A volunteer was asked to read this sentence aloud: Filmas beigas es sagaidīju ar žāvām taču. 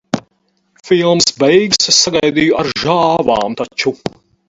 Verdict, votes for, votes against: rejected, 0, 4